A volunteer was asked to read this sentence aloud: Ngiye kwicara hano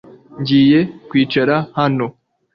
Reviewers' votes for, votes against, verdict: 2, 0, accepted